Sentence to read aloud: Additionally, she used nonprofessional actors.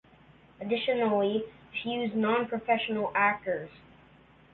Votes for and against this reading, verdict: 1, 2, rejected